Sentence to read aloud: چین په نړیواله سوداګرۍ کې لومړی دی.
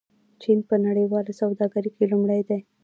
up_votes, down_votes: 2, 0